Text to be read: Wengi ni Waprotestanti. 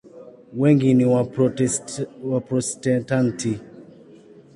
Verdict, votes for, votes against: rejected, 1, 2